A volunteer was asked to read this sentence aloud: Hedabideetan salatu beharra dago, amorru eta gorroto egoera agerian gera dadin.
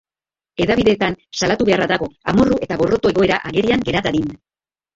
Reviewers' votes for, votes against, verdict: 2, 0, accepted